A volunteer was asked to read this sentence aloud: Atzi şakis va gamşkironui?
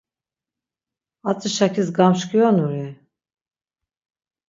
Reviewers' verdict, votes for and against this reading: rejected, 3, 6